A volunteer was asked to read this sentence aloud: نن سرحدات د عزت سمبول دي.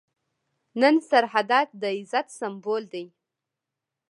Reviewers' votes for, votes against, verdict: 1, 2, rejected